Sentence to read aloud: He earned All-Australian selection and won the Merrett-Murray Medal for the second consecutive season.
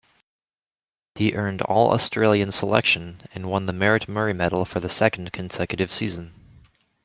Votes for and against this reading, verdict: 2, 1, accepted